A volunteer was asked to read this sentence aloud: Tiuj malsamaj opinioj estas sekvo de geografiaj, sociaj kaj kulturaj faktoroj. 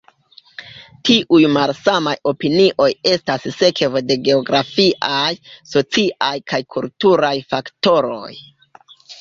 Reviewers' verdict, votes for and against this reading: rejected, 0, 2